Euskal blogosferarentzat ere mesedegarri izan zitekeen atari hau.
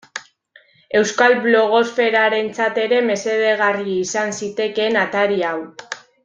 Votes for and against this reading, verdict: 2, 0, accepted